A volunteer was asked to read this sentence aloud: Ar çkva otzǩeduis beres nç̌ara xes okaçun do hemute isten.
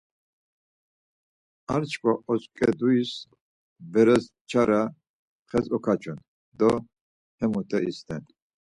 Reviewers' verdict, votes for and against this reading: accepted, 4, 0